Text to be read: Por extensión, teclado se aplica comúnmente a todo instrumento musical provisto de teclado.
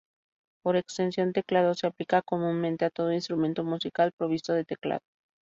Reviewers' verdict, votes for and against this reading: accepted, 2, 0